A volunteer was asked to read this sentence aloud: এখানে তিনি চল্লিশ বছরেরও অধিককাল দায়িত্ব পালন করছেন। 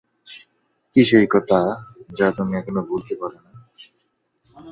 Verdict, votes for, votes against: rejected, 1, 6